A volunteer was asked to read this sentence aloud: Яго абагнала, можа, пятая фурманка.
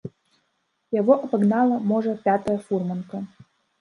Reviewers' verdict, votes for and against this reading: rejected, 0, 3